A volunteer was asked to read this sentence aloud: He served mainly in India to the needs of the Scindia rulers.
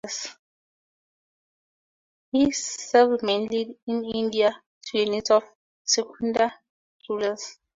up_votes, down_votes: 2, 0